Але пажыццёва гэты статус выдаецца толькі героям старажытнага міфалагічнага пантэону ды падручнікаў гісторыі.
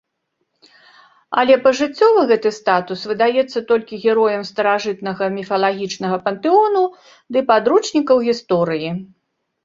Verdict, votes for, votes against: accepted, 2, 0